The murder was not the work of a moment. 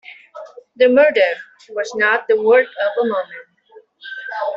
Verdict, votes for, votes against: rejected, 1, 2